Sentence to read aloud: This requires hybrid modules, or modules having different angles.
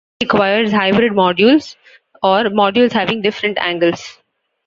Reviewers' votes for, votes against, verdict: 2, 1, accepted